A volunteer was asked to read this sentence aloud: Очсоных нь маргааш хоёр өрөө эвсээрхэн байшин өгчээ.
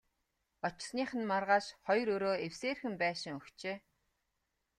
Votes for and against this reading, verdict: 2, 0, accepted